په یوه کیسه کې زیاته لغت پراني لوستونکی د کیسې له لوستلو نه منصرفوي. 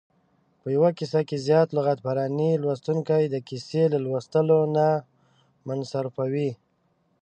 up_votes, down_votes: 2, 1